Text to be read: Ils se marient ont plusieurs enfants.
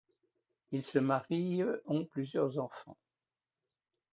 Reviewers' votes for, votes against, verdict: 2, 0, accepted